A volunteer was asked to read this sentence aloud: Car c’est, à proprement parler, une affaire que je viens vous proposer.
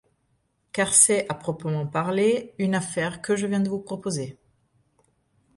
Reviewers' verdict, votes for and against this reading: rejected, 1, 2